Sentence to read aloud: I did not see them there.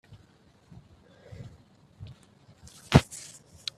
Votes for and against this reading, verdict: 0, 2, rejected